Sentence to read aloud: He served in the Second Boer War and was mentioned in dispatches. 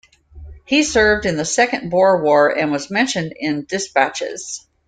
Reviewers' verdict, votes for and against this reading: accepted, 2, 0